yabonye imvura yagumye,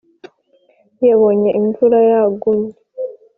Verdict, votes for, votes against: accepted, 2, 0